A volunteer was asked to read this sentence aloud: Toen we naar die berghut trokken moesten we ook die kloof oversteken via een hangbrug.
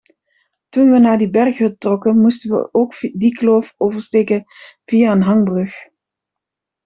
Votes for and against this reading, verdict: 0, 2, rejected